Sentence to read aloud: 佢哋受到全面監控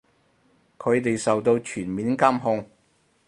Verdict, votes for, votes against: accepted, 4, 0